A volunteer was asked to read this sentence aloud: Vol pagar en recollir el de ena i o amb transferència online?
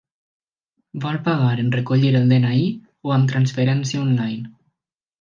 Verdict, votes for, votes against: rejected, 1, 2